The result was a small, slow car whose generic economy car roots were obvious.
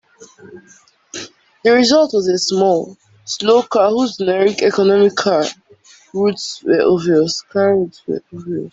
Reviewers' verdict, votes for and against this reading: rejected, 0, 2